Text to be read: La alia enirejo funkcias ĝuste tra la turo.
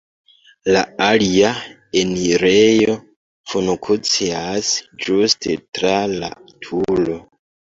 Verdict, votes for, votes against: rejected, 0, 2